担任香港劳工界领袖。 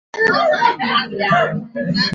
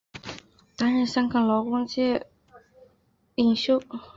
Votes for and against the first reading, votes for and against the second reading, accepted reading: 0, 2, 4, 0, second